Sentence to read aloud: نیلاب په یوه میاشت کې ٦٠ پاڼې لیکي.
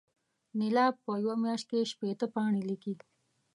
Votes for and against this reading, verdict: 0, 2, rejected